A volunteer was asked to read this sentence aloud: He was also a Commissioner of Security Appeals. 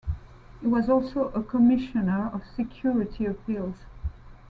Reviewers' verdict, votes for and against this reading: accepted, 2, 0